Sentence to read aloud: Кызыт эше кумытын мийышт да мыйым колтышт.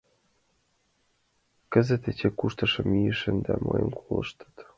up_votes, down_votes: 0, 2